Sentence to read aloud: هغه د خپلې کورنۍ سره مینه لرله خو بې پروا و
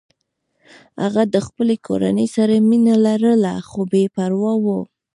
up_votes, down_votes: 1, 3